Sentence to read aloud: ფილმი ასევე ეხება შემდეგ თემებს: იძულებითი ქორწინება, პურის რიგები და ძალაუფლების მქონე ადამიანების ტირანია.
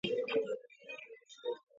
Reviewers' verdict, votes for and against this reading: rejected, 0, 2